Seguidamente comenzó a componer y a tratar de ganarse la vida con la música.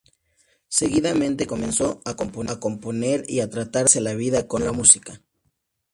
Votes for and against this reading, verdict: 0, 2, rejected